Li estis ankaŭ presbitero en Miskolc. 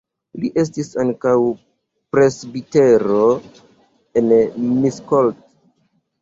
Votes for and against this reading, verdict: 0, 2, rejected